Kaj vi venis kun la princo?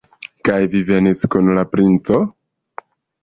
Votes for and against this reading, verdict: 2, 0, accepted